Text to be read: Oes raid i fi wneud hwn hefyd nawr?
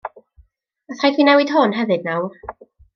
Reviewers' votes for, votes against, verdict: 0, 2, rejected